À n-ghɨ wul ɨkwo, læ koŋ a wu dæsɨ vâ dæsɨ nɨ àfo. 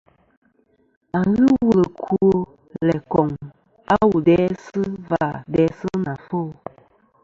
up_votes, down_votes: 2, 0